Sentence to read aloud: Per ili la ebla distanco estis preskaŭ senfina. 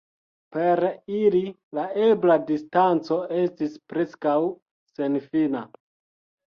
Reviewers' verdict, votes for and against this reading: accepted, 2, 0